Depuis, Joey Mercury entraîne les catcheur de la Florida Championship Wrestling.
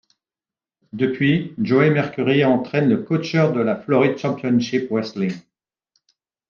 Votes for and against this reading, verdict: 0, 2, rejected